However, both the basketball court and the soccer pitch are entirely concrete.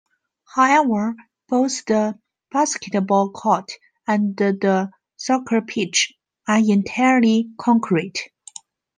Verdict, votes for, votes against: rejected, 0, 2